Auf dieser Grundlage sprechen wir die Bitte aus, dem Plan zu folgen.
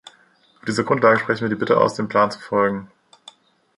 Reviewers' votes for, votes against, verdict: 0, 2, rejected